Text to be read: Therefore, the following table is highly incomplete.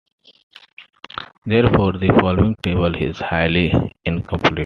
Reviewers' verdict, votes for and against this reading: accepted, 2, 0